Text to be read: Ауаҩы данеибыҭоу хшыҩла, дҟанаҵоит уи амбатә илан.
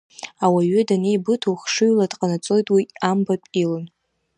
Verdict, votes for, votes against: accepted, 2, 0